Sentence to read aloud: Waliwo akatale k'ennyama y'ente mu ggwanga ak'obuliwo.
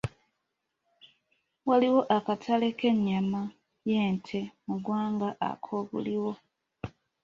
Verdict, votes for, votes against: accepted, 2, 0